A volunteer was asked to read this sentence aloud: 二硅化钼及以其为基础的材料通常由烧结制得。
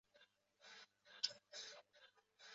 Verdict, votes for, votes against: rejected, 2, 6